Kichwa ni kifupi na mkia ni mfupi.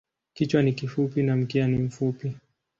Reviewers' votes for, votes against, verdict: 2, 0, accepted